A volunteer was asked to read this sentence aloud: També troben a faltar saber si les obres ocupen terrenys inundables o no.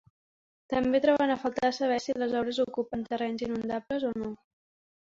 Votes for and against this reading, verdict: 2, 1, accepted